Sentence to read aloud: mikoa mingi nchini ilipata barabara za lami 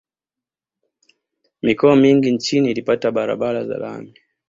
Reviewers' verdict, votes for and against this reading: accepted, 2, 0